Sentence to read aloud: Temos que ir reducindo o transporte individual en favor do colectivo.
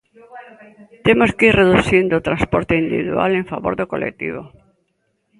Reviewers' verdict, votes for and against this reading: rejected, 0, 2